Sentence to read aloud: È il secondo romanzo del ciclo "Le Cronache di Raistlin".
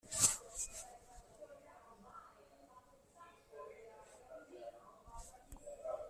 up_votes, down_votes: 0, 2